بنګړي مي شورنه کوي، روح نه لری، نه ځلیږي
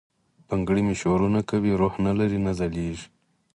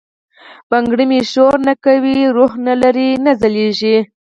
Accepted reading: first